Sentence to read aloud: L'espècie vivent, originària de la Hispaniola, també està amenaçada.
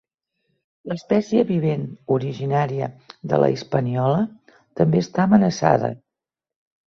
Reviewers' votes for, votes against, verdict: 4, 0, accepted